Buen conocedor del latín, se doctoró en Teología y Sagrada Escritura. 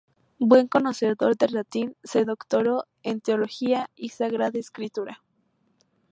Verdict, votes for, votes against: accepted, 2, 0